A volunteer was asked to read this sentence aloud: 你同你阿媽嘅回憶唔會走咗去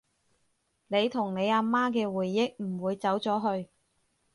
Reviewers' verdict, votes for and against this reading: accepted, 6, 0